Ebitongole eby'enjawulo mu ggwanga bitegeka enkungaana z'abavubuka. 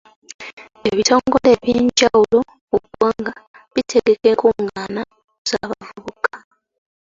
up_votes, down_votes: 1, 2